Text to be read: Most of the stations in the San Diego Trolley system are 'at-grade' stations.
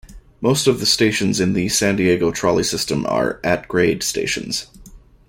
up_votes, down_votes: 2, 0